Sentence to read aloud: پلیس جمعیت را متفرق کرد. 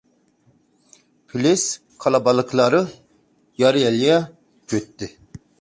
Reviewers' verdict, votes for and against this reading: rejected, 0, 3